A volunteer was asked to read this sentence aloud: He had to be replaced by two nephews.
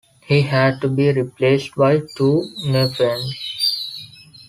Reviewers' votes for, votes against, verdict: 2, 3, rejected